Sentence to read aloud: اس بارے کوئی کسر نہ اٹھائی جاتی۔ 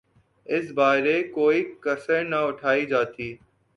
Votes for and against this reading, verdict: 10, 0, accepted